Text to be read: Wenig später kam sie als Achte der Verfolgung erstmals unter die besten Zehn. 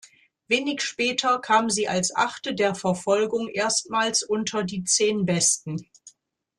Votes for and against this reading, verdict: 0, 2, rejected